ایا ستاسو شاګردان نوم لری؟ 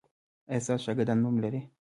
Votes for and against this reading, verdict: 0, 2, rejected